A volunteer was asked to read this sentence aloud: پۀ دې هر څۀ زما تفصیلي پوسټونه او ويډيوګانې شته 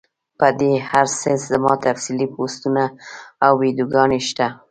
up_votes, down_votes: 1, 2